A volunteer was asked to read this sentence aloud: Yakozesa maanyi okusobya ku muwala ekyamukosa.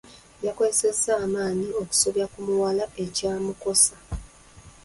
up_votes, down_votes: 1, 2